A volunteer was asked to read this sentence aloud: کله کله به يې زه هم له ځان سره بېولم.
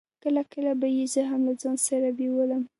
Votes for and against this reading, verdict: 2, 0, accepted